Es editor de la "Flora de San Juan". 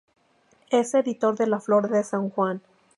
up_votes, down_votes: 2, 2